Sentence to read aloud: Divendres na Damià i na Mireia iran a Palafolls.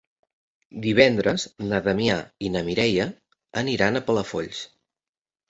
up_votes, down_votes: 0, 2